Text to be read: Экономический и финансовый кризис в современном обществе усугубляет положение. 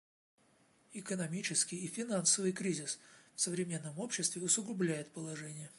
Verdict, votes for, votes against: accepted, 2, 0